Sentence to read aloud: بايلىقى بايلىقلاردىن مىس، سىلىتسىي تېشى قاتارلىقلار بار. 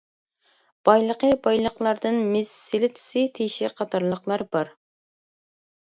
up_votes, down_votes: 0, 2